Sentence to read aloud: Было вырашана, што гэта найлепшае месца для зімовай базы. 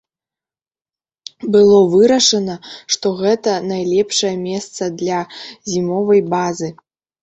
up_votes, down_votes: 2, 3